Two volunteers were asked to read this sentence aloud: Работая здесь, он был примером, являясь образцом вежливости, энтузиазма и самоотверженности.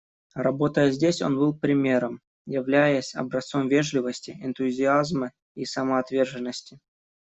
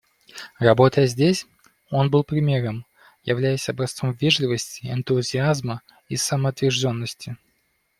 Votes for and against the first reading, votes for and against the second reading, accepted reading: 2, 0, 1, 2, first